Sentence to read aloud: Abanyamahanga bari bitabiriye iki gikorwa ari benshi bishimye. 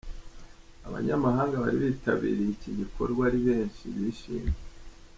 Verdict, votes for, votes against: accepted, 2, 0